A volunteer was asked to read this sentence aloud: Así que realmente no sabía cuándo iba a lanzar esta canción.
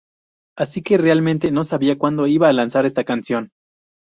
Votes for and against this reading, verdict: 2, 0, accepted